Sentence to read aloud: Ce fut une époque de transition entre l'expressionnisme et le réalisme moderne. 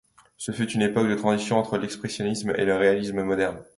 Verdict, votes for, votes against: accepted, 2, 0